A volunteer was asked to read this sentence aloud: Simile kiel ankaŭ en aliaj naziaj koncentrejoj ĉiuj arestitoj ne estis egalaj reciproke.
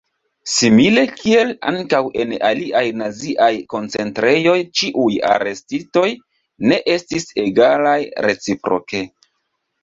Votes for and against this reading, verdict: 2, 0, accepted